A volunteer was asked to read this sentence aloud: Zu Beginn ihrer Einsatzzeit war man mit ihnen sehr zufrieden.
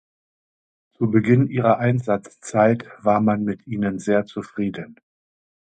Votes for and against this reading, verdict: 2, 0, accepted